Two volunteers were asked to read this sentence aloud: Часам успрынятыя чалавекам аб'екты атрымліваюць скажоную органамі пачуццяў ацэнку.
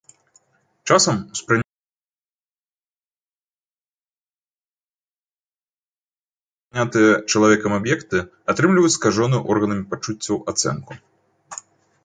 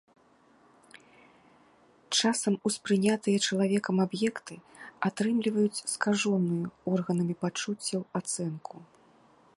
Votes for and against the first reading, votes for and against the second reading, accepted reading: 1, 2, 2, 0, second